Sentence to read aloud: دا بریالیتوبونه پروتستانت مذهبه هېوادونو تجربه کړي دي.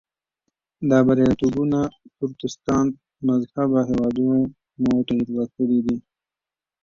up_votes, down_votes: 0, 2